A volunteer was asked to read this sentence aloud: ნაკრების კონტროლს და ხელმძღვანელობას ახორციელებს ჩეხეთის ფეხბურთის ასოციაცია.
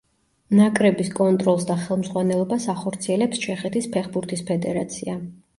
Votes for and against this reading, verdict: 2, 1, accepted